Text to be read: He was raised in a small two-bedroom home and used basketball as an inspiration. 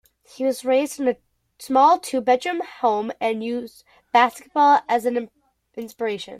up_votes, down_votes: 2, 0